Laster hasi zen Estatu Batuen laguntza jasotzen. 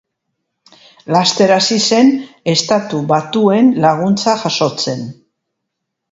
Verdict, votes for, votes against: accepted, 2, 0